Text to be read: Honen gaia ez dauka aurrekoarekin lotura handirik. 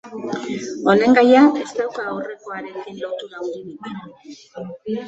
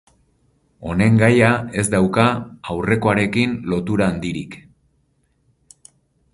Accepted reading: second